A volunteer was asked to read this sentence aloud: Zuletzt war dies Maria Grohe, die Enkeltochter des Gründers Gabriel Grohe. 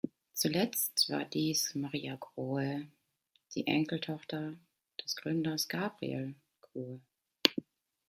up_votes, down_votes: 2, 1